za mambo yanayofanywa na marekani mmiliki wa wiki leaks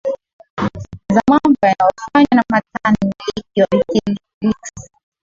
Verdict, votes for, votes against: rejected, 0, 3